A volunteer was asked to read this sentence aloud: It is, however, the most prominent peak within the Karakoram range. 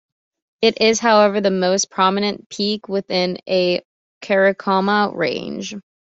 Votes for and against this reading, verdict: 1, 2, rejected